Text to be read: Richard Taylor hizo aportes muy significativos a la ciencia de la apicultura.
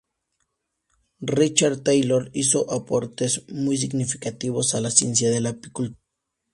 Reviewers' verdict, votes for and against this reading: rejected, 0, 2